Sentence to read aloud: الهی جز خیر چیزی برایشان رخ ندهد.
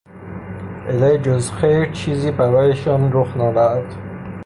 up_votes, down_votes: 0, 3